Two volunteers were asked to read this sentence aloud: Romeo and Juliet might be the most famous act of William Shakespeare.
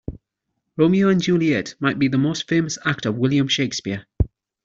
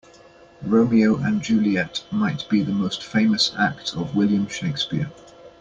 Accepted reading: first